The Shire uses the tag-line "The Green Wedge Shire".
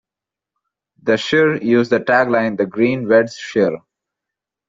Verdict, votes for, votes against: rejected, 0, 2